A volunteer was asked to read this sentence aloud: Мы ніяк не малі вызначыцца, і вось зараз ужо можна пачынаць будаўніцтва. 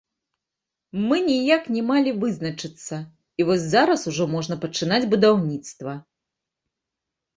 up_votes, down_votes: 1, 2